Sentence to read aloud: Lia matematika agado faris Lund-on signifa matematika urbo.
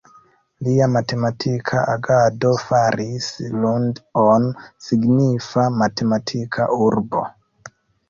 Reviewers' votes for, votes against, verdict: 1, 2, rejected